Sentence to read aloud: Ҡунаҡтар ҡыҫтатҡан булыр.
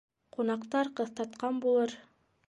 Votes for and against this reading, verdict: 2, 0, accepted